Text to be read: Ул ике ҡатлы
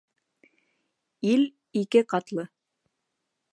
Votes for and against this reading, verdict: 0, 2, rejected